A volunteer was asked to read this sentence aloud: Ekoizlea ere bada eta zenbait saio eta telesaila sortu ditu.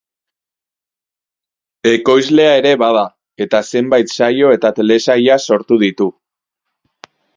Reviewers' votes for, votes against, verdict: 4, 0, accepted